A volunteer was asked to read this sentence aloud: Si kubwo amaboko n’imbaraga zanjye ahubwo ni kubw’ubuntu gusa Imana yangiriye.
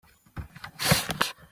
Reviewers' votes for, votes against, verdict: 0, 2, rejected